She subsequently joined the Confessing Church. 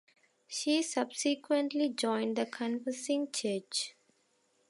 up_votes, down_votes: 2, 0